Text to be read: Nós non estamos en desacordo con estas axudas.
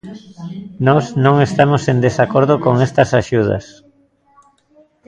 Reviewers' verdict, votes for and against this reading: rejected, 0, 2